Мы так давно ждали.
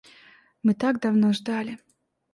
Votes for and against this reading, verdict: 2, 0, accepted